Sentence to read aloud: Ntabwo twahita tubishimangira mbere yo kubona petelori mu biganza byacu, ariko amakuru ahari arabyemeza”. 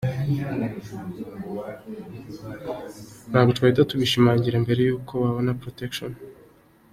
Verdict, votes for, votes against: rejected, 0, 2